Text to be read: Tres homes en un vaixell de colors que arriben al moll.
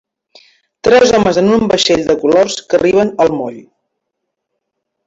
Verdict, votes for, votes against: rejected, 0, 2